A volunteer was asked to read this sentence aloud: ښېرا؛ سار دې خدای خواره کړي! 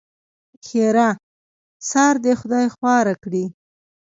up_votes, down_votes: 2, 1